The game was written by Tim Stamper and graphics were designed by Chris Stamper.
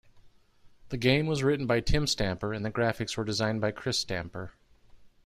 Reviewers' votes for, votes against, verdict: 0, 2, rejected